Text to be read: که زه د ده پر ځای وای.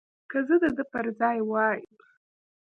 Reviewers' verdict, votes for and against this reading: accepted, 2, 0